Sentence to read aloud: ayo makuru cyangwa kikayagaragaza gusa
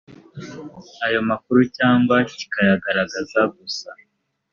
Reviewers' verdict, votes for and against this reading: accepted, 3, 0